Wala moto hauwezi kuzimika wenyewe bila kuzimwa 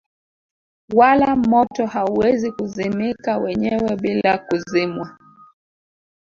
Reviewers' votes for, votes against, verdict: 1, 2, rejected